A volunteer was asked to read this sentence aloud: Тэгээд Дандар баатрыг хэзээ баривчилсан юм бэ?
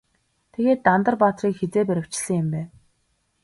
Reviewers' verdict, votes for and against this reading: rejected, 2, 2